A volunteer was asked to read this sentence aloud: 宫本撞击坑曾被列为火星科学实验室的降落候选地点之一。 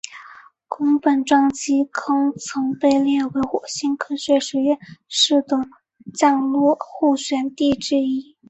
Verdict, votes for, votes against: accepted, 4, 0